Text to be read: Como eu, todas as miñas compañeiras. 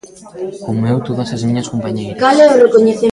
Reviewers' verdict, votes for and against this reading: rejected, 0, 2